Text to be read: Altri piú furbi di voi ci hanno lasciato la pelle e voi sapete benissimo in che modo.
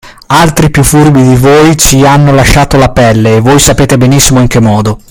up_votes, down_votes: 2, 0